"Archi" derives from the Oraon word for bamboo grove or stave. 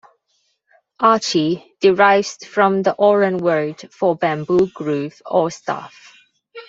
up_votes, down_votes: 1, 2